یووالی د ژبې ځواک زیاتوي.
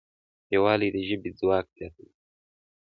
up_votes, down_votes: 2, 0